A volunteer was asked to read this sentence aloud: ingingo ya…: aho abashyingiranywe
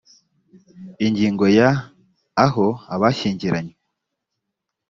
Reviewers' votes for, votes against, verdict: 2, 0, accepted